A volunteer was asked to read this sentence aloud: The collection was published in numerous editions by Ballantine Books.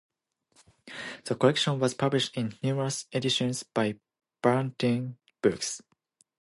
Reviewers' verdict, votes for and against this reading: accepted, 2, 0